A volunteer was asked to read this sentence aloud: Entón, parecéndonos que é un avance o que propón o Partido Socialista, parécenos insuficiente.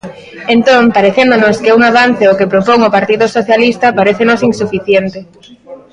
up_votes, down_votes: 0, 2